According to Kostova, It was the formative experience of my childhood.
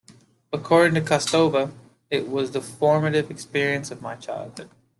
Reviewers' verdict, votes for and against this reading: accepted, 2, 0